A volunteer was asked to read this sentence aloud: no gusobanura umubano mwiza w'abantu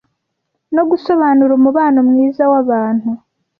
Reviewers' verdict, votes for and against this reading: rejected, 0, 2